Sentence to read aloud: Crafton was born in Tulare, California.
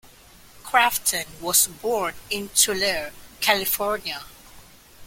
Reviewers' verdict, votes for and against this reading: accepted, 2, 0